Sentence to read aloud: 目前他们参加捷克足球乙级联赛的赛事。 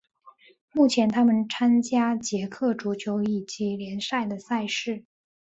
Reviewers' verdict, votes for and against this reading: accepted, 3, 0